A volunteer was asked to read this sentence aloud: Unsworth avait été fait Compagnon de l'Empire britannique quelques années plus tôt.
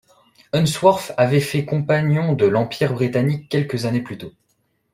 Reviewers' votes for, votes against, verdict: 1, 2, rejected